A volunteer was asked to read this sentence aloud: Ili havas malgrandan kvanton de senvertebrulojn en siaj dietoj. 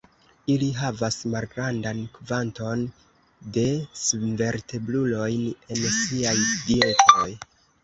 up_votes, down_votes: 1, 2